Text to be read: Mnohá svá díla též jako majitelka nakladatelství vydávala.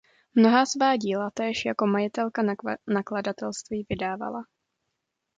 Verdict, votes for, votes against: rejected, 0, 2